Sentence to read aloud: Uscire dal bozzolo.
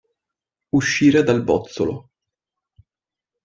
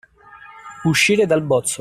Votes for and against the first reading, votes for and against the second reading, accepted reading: 2, 0, 1, 2, first